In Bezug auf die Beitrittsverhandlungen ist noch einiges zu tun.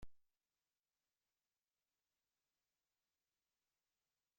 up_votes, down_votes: 0, 2